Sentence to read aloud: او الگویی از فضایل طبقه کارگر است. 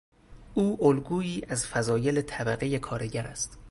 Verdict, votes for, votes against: rejected, 2, 2